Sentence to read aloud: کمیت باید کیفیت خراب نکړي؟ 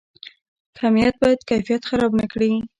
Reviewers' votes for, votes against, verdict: 1, 2, rejected